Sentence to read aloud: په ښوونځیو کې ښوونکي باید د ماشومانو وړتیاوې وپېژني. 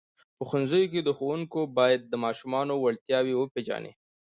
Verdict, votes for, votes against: accepted, 2, 0